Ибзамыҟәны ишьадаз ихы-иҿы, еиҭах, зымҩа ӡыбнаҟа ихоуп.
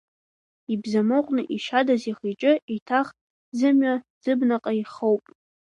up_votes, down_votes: 1, 2